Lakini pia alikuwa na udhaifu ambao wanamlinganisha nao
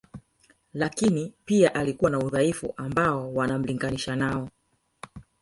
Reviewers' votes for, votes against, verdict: 2, 3, rejected